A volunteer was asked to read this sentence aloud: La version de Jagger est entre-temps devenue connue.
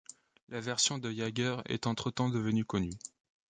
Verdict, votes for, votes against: rejected, 1, 2